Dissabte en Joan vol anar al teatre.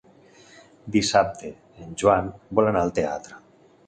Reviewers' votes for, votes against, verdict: 2, 0, accepted